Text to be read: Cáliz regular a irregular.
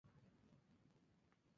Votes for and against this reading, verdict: 0, 2, rejected